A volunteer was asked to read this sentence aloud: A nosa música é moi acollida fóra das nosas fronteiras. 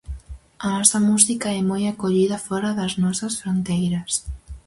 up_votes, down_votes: 2, 2